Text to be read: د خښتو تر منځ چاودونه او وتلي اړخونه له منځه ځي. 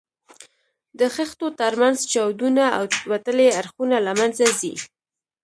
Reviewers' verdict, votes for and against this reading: rejected, 1, 2